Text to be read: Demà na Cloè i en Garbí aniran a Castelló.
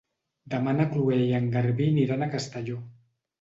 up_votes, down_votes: 1, 3